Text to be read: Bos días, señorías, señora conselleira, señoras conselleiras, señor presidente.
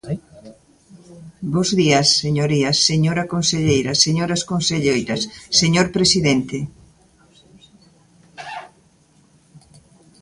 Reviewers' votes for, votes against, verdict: 2, 0, accepted